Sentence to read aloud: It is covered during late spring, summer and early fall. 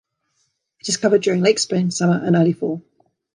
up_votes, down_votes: 2, 0